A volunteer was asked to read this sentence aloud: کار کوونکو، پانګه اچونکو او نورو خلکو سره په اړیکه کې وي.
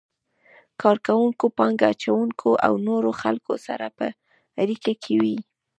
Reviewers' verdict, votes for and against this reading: accepted, 2, 0